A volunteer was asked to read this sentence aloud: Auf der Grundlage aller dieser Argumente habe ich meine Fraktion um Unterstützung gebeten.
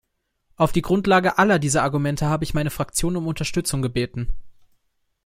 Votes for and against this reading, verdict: 0, 2, rejected